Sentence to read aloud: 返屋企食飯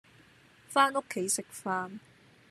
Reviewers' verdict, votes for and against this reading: accepted, 2, 0